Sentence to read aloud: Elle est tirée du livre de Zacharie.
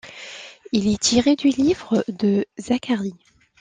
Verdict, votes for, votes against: rejected, 0, 2